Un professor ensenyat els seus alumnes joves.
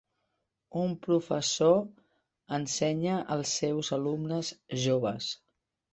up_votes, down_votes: 1, 2